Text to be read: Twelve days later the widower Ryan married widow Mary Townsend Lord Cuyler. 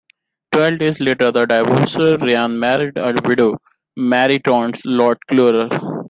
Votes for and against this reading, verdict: 1, 2, rejected